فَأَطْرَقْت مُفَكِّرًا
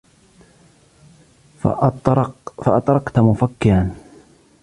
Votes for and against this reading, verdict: 0, 2, rejected